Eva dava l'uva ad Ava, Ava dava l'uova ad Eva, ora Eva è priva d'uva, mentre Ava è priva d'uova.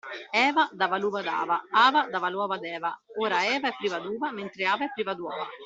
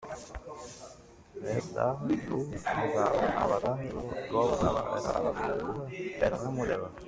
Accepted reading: first